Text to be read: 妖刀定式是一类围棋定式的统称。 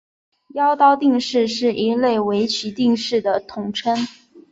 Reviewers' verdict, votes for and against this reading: accepted, 2, 0